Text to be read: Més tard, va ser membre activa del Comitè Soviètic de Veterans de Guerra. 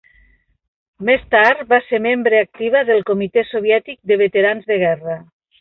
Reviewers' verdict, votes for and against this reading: accepted, 3, 0